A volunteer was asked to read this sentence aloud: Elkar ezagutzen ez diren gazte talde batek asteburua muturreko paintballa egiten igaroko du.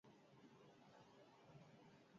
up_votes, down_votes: 0, 2